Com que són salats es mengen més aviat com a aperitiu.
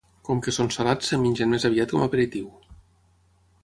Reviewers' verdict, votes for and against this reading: rejected, 3, 3